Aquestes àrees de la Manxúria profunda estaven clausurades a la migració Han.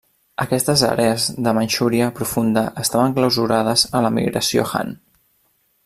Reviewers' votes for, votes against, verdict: 0, 2, rejected